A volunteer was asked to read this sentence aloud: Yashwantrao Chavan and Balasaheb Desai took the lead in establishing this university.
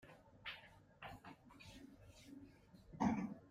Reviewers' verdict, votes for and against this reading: rejected, 0, 2